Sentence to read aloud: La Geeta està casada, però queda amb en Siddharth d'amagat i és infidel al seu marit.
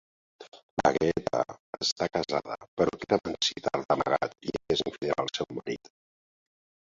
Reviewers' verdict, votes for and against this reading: rejected, 0, 2